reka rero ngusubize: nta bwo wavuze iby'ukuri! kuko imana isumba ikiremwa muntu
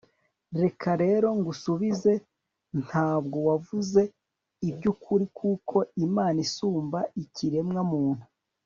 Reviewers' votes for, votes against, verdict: 2, 0, accepted